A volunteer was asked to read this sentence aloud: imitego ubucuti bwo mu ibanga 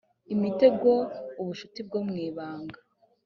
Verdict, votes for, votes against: rejected, 1, 2